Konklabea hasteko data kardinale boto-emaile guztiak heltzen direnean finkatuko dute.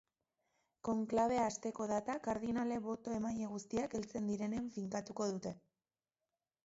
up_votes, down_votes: 2, 0